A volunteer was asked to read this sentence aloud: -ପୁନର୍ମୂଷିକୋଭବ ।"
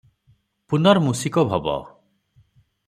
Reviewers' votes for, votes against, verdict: 6, 0, accepted